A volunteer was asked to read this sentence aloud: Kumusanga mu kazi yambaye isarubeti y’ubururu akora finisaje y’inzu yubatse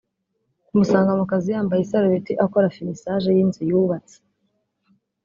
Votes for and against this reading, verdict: 0, 2, rejected